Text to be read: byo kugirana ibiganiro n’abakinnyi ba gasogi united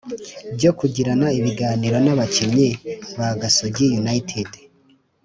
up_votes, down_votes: 3, 0